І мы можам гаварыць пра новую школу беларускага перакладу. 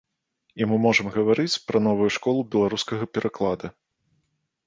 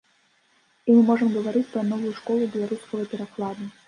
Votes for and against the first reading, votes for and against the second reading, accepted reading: 0, 2, 2, 1, second